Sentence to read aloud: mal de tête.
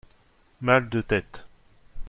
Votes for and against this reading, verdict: 2, 0, accepted